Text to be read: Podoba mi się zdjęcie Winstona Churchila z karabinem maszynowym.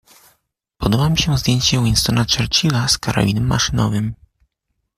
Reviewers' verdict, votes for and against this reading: accepted, 2, 0